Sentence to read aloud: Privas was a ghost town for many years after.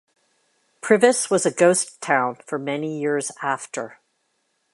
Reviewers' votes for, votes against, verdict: 2, 0, accepted